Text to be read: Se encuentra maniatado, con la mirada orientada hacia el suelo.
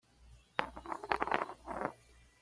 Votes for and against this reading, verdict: 1, 2, rejected